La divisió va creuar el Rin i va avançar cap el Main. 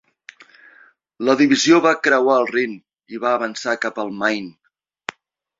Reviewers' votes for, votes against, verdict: 3, 0, accepted